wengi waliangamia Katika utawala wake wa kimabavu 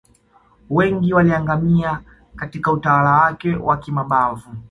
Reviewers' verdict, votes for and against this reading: accepted, 2, 0